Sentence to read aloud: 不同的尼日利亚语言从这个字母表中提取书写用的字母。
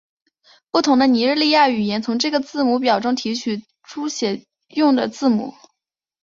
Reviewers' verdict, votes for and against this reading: accepted, 3, 0